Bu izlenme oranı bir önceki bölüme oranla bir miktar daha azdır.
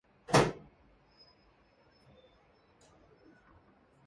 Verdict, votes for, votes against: rejected, 0, 2